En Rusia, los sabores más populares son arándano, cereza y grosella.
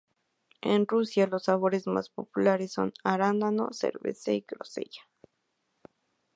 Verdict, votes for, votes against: rejected, 0, 2